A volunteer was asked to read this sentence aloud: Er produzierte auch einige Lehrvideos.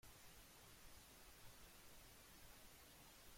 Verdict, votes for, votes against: rejected, 0, 2